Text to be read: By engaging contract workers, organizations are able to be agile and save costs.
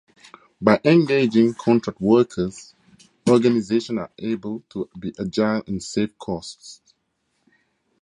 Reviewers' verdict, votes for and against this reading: rejected, 2, 2